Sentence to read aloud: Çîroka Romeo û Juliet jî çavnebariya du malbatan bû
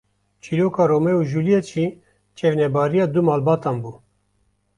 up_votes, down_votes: 1, 2